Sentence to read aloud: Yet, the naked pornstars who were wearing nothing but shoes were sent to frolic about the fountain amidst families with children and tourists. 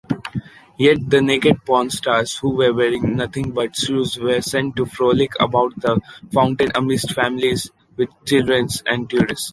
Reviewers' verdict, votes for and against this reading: rejected, 1, 2